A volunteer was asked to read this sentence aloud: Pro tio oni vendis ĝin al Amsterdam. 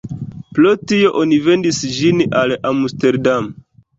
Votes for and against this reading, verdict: 1, 2, rejected